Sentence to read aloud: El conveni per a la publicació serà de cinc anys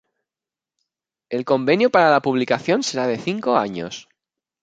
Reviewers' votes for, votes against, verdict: 0, 2, rejected